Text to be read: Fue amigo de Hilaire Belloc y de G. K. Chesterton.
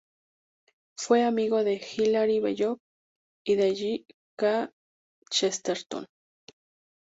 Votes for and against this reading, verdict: 4, 2, accepted